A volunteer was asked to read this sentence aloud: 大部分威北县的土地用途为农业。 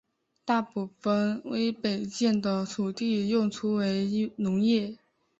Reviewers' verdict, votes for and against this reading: accepted, 2, 0